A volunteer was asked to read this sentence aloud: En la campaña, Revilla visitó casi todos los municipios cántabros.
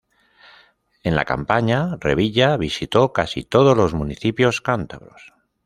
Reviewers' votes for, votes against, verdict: 2, 0, accepted